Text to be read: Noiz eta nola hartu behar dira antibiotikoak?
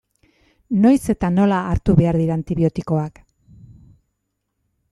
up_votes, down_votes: 2, 0